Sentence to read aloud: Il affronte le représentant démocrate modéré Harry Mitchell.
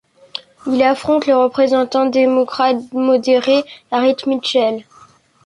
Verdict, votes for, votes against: rejected, 1, 2